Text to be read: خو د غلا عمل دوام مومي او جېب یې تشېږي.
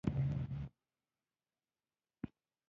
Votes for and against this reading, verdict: 1, 2, rejected